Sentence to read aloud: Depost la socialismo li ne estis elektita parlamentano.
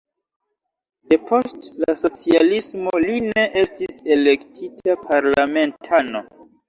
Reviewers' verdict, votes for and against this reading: accepted, 2, 1